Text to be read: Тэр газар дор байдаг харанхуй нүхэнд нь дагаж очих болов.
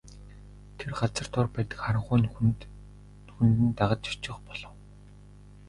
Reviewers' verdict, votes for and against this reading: rejected, 0, 2